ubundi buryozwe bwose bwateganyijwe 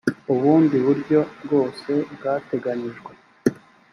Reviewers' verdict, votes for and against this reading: rejected, 1, 2